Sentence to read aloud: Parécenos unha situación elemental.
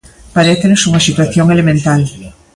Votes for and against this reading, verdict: 2, 0, accepted